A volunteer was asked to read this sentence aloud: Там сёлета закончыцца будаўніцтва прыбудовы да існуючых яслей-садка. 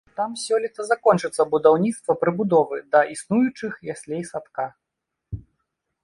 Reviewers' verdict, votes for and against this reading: accepted, 2, 0